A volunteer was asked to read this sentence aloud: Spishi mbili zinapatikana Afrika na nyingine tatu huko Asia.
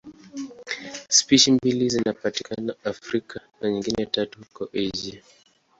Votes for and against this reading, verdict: 2, 0, accepted